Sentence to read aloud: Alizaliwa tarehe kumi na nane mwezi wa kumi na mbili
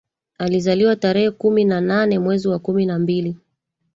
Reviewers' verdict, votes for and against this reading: accepted, 3, 1